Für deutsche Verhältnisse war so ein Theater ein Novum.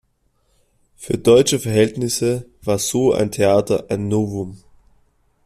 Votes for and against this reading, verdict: 2, 0, accepted